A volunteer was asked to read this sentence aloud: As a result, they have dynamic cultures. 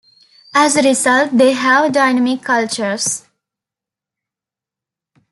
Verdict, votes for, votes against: accepted, 2, 0